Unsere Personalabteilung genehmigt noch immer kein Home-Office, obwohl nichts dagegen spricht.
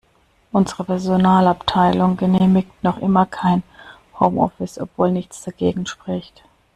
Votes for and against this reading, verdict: 2, 0, accepted